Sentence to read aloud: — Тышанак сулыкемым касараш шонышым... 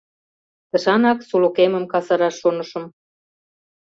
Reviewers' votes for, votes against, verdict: 2, 0, accepted